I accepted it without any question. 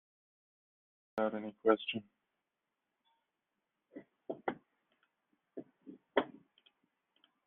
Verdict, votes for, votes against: rejected, 0, 2